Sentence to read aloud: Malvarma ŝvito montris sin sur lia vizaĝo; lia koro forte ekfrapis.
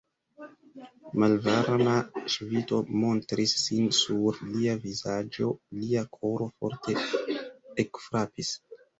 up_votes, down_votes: 1, 2